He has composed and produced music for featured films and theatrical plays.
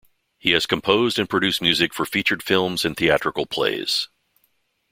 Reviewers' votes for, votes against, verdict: 2, 0, accepted